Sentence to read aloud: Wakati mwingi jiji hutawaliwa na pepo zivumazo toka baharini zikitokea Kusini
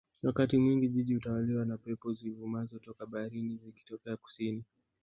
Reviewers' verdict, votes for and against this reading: rejected, 1, 2